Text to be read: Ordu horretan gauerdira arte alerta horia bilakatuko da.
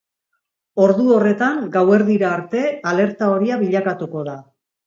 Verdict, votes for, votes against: accepted, 2, 0